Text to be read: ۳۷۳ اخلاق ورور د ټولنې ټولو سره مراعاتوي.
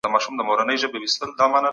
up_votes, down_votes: 0, 2